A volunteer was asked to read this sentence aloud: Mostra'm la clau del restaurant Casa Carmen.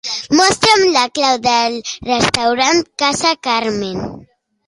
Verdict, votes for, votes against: accepted, 2, 0